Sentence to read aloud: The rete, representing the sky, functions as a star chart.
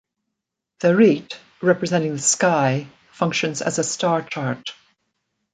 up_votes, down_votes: 2, 1